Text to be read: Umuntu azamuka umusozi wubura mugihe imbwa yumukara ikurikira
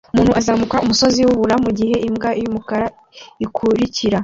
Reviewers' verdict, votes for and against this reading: accepted, 2, 1